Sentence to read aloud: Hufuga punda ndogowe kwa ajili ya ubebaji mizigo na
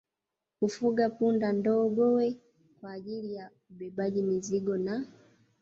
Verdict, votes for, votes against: rejected, 1, 2